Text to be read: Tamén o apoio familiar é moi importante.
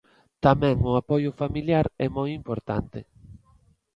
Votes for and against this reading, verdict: 2, 0, accepted